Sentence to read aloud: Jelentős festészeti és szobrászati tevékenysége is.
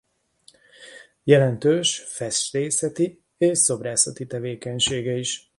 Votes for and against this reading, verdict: 0, 2, rejected